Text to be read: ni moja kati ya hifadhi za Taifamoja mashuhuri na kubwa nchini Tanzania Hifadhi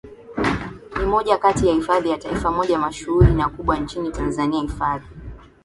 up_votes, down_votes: 7, 4